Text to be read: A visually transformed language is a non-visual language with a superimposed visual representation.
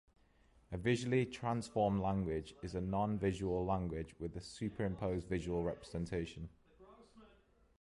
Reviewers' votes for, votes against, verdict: 2, 0, accepted